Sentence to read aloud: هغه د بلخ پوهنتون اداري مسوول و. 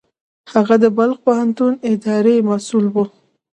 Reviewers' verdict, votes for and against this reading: accepted, 2, 0